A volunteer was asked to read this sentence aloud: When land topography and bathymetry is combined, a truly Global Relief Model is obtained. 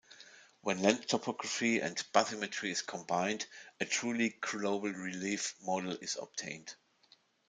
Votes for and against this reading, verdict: 0, 2, rejected